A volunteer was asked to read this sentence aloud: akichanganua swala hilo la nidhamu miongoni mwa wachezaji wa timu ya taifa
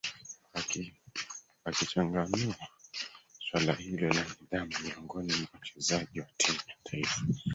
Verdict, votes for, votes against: rejected, 0, 3